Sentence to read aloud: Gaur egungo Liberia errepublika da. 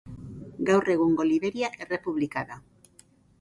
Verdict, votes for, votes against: accepted, 2, 0